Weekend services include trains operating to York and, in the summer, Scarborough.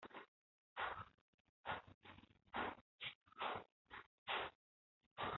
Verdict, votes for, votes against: rejected, 0, 2